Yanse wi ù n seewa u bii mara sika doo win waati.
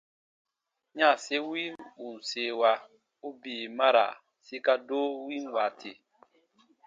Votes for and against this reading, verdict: 2, 0, accepted